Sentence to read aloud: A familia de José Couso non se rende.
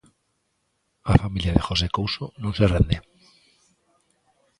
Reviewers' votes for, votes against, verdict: 2, 0, accepted